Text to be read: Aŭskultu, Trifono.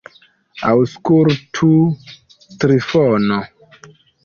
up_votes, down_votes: 0, 2